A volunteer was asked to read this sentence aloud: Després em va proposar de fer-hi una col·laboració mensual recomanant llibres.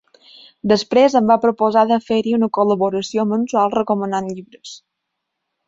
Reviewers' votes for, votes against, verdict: 4, 0, accepted